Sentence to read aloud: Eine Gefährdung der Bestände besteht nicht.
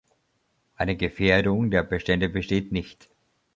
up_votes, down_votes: 2, 0